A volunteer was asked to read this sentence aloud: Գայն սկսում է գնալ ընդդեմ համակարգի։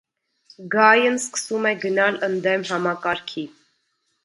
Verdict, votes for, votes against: accepted, 2, 0